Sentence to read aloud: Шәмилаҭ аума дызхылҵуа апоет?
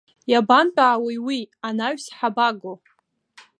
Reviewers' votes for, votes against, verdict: 0, 2, rejected